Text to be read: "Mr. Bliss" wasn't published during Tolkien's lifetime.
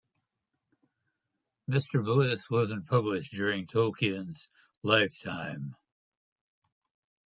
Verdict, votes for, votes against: accepted, 2, 0